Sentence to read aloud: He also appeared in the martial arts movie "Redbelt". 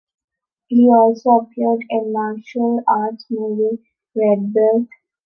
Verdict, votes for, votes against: rejected, 1, 2